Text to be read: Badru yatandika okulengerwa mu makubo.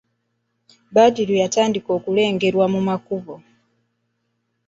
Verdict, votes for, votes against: accepted, 2, 0